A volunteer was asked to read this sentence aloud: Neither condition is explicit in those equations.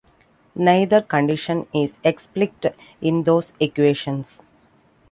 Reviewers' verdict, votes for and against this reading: rejected, 1, 2